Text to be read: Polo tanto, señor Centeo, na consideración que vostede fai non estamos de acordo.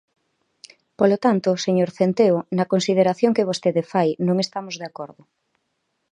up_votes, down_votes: 2, 0